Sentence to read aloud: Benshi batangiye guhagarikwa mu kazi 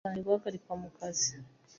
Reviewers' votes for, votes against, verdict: 0, 2, rejected